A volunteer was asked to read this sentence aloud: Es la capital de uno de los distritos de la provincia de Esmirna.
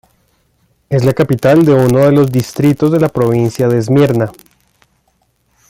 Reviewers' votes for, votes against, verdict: 2, 0, accepted